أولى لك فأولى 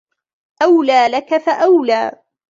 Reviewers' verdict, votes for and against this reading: accepted, 2, 0